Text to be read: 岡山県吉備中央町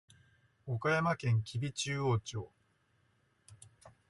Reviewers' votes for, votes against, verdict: 2, 0, accepted